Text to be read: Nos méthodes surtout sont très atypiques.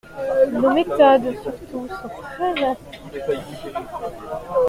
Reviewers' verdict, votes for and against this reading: rejected, 0, 2